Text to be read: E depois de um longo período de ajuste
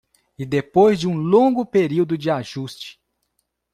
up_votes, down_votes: 2, 0